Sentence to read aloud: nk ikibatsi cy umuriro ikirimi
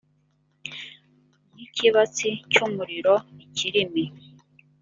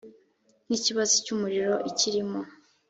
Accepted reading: first